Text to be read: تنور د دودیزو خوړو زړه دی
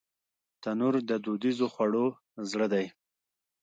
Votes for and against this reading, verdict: 1, 2, rejected